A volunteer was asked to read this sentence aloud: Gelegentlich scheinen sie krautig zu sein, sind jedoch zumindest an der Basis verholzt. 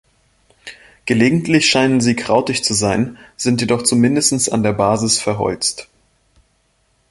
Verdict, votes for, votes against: rejected, 1, 2